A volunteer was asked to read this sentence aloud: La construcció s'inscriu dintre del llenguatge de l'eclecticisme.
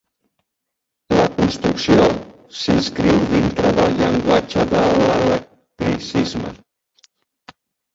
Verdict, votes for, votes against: rejected, 0, 2